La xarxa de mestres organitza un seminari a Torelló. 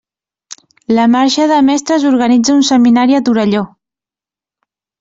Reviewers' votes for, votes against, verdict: 0, 2, rejected